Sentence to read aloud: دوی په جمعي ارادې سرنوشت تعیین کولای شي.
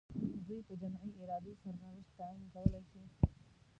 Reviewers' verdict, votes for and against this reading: rejected, 0, 2